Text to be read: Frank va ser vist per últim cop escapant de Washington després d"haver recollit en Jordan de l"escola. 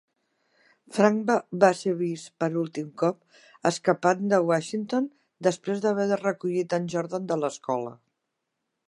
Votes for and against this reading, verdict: 1, 4, rejected